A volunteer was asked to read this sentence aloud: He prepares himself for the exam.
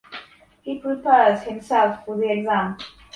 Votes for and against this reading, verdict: 2, 0, accepted